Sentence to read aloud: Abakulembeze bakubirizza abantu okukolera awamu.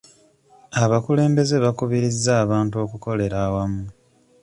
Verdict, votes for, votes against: accepted, 2, 0